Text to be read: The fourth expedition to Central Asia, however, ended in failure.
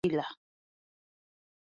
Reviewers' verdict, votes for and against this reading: rejected, 0, 2